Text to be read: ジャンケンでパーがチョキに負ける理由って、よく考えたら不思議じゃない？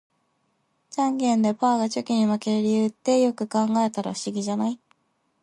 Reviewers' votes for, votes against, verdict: 3, 0, accepted